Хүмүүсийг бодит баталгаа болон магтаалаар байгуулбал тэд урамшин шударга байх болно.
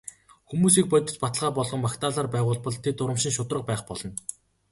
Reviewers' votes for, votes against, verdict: 3, 0, accepted